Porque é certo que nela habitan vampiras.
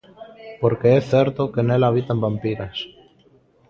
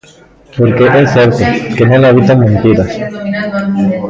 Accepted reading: first